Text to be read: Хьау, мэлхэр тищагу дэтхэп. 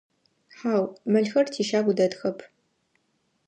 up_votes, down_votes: 2, 0